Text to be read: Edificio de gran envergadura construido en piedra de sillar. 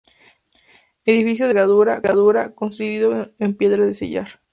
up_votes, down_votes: 0, 4